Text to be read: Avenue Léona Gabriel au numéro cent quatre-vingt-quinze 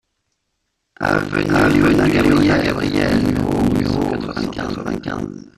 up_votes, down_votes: 0, 2